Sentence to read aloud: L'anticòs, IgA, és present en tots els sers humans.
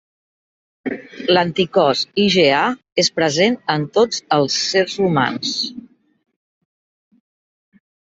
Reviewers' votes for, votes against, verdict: 3, 1, accepted